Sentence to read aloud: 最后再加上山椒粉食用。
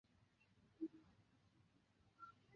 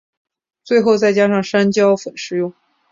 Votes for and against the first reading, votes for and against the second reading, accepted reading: 0, 3, 5, 0, second